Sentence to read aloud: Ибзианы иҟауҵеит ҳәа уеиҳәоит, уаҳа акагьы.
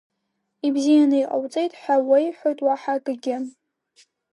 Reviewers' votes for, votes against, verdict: 2, 0, accepted